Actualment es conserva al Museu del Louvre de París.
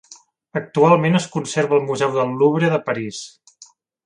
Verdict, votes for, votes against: accepted, 2, 0